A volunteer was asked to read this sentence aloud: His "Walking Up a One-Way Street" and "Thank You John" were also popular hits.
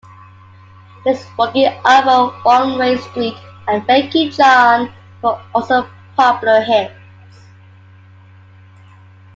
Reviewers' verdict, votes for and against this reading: rejected, 0, 2